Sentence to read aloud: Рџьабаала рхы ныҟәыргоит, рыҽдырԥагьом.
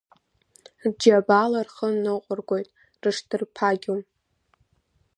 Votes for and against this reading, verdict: 1, 2, rejected